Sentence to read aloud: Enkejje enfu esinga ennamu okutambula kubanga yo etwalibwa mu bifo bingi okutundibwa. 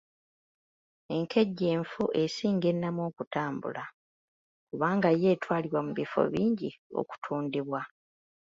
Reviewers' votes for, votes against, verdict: 2, 0, accepted